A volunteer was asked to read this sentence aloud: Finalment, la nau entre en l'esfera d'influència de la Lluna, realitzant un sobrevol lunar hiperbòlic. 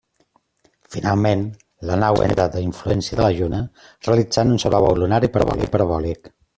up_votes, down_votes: 0, 2